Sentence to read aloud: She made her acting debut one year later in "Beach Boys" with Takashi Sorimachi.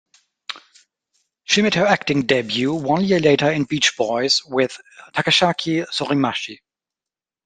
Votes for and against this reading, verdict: 1, 2, rejected